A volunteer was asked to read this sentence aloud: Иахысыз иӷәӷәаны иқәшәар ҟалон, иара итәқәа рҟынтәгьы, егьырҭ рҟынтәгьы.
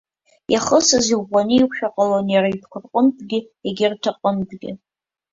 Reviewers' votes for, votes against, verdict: 1, 3, rejected